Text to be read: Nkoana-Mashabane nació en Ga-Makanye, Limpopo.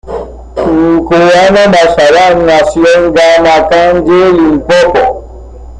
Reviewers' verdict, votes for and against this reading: accepted, 2, 0